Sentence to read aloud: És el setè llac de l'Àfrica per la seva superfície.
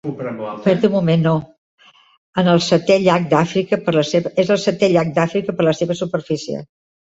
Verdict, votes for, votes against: rejected, 0, 2